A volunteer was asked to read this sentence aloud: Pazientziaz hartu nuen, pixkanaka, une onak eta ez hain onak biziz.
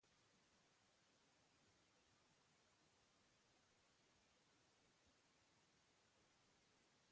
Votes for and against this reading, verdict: 0, 3, rejected